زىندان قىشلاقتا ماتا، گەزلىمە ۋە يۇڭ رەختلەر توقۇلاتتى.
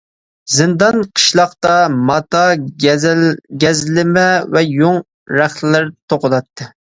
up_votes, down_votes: 0, 2